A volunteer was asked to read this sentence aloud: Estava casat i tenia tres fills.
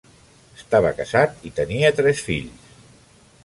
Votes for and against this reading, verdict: 0, 2, rejected